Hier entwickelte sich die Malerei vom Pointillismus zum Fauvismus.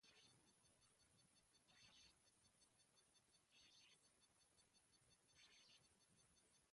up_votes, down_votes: 0, 2